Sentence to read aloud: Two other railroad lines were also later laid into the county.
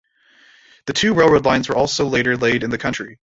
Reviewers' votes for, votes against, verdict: 0, 2, rejected